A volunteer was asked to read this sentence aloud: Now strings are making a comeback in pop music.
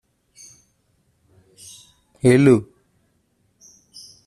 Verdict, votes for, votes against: rejected, 0, 2